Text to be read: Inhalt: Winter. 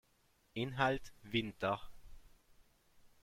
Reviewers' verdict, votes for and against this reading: accepted, 2, 0